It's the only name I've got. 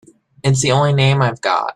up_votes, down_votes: 2, 0